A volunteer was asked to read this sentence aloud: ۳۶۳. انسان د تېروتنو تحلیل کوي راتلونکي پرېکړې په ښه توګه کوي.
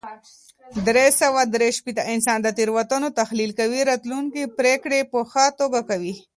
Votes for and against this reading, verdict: 0, 2, rejected